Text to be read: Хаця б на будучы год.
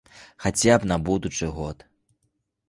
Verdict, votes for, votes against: accepted, 2, 0